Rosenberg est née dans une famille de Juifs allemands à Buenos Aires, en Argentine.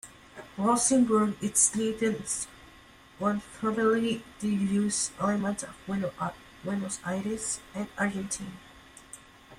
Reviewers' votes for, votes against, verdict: 0, 4, rejected